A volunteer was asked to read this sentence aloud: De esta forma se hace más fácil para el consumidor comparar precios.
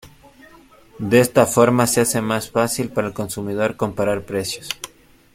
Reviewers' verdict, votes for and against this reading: rejected, 1, 2